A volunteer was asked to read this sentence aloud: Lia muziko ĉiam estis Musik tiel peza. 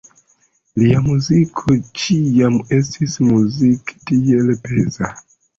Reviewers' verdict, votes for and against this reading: accepted, 2, 1